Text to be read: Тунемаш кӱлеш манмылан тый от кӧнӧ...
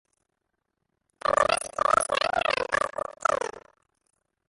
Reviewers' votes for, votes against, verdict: 0, 2, rejected